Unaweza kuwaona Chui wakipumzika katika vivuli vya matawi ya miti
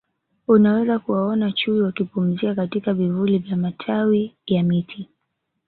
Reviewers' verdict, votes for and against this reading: accepted, 3, 2